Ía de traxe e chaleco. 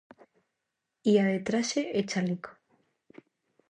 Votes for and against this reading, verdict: 2, 0, accepted